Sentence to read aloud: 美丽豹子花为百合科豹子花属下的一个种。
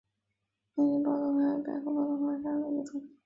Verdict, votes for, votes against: rejected, 0, 2